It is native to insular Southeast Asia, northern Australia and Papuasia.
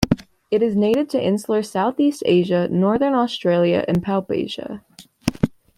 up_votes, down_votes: 2, 0